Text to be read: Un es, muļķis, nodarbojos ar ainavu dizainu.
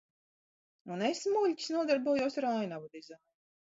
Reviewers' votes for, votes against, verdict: 0, 2, rejected